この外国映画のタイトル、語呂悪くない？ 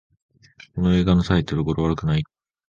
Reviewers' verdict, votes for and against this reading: rejected, 0, 2